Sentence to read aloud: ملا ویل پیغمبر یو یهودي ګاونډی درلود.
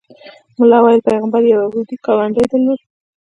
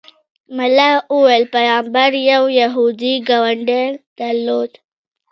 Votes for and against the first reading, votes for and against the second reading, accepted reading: 0, 2, 2, 1, second